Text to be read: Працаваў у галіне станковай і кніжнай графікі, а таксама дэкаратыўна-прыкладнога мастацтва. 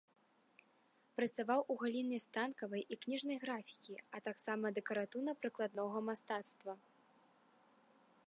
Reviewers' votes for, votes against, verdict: 0, 2, rejected